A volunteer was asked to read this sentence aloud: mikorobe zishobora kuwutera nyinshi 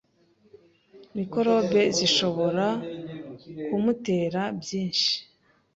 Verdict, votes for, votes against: rejected, 1, 2